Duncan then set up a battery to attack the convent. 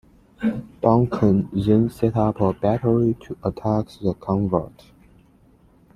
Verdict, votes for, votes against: accepted, 3, 2